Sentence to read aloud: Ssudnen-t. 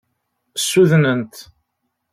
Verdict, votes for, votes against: accepted, 2, 0